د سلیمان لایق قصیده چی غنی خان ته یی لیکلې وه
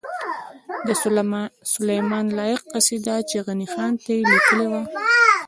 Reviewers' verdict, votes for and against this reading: accepted, 2, 1